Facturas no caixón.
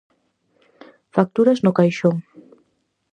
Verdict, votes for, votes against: accepted, 4, 0